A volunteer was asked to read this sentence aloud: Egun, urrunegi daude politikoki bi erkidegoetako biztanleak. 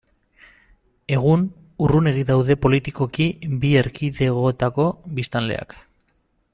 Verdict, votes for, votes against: accepted, 6, 0